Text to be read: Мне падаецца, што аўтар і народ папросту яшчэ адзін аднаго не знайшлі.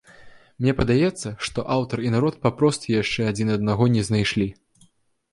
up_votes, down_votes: 2, 0